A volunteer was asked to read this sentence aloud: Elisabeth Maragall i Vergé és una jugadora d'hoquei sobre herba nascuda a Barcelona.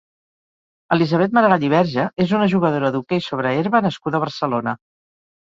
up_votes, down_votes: 2, 4